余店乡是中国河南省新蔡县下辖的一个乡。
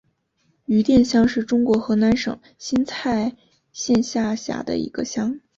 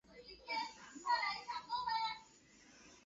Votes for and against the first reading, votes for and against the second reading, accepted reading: 2, 0, 0, 3, first